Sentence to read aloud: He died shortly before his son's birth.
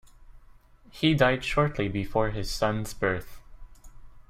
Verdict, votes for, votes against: accepted, 2, 0